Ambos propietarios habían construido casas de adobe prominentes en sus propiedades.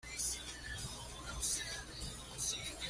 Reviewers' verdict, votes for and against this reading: rejected, 1, 2